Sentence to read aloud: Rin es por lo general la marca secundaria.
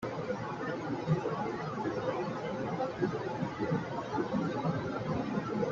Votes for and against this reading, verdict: 0, 2, rejected